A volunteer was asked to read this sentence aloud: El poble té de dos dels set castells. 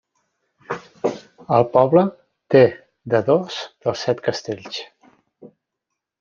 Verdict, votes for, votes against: accepted, 3, 0